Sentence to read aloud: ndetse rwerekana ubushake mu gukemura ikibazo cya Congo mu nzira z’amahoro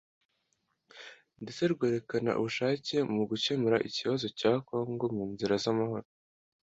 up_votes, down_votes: 2, 0